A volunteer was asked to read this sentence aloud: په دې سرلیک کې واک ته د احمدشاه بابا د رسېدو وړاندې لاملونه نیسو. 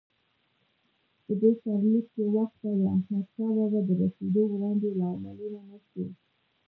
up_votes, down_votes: 0, 2